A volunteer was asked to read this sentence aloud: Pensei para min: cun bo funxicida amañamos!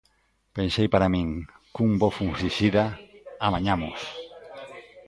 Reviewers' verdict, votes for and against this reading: rejected, 0, 2